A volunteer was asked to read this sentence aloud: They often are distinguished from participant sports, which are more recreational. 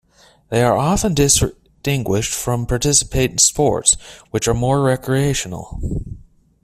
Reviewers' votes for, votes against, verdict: 0, 2, rejected